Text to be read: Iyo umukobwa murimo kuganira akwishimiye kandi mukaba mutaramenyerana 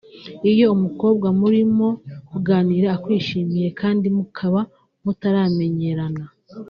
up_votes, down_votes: 3, 1